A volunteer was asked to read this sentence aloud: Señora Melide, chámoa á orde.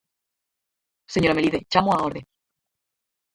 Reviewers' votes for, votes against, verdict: 2, 4, rejected